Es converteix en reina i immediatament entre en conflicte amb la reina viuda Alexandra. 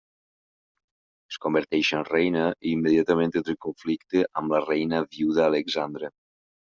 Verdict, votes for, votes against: rejected, 2, 3